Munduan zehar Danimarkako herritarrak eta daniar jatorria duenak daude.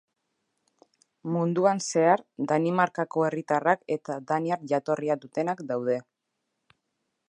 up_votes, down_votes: 1, 2